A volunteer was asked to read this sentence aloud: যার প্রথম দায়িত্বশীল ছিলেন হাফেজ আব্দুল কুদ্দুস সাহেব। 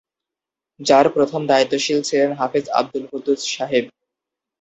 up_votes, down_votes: 2, 0